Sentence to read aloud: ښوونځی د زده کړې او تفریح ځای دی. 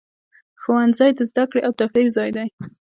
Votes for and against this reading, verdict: 2, 0, accepted